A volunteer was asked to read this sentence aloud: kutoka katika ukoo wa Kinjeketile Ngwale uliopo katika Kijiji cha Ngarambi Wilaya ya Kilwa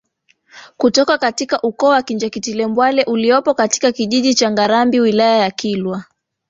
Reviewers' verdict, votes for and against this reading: rejected, 0, 2